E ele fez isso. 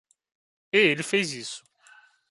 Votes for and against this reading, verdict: 2, 1, accepted